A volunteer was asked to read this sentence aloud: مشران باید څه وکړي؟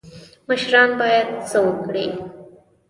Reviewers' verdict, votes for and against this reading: rejected, 1, 2